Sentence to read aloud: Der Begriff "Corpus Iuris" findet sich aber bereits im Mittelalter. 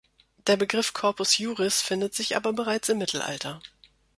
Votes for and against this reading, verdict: 3, 1, accepted